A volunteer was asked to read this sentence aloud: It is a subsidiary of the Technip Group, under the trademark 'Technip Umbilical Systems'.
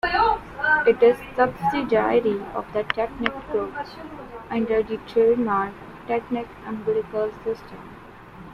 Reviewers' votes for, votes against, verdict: 0, 2, rejected